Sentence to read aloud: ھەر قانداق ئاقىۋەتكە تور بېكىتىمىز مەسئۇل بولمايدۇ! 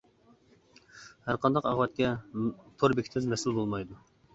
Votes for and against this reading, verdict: 2, 1, accepted